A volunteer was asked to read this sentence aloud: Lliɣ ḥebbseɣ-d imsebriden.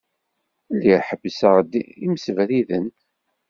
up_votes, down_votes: 2, 1